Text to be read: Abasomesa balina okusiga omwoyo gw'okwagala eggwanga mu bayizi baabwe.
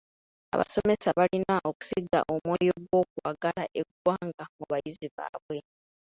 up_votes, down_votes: 2, 1